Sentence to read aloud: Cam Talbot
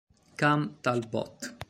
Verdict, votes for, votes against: accepted, 2, 0